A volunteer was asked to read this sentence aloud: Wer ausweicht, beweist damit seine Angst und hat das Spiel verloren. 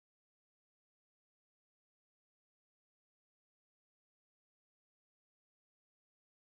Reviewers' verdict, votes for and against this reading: rejected, 0, 2